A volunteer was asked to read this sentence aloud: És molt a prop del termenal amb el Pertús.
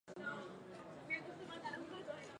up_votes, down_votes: 0, 2